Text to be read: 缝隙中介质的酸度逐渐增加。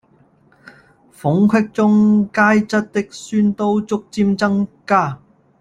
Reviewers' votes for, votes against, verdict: 1, 2, rejected